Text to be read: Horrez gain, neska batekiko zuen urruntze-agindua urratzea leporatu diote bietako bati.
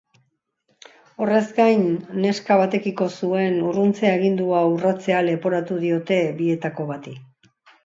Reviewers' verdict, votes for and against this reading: accepted, 2, 0